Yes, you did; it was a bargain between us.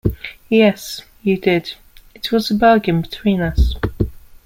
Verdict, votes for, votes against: accepted, 2, 0